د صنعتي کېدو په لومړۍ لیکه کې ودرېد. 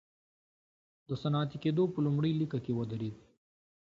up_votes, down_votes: 2, 1